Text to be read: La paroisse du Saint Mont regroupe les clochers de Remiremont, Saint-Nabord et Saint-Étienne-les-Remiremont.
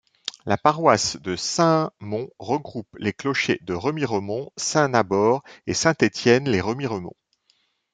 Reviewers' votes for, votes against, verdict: 0, 2, rejected